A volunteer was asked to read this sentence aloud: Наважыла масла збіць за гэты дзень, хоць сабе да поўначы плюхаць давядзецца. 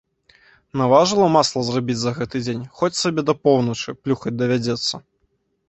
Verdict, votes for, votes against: rejected, 0, 2